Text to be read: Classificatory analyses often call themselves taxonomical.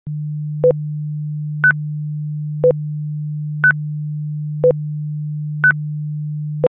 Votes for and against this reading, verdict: 0, 2, rejected